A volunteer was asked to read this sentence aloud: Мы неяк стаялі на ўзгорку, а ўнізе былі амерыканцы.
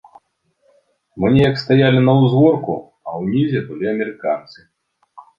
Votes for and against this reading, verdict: 3, 0, accepted